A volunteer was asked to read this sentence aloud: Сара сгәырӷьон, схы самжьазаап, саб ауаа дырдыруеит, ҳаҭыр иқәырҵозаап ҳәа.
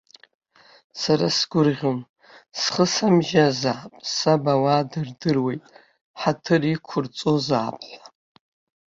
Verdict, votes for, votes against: accepted, 2, 1